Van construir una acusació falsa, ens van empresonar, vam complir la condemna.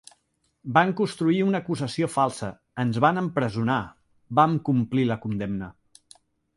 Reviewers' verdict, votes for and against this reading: accepted, 2, 0